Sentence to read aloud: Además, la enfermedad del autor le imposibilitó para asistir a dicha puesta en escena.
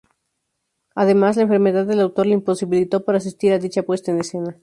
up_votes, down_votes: 2, 0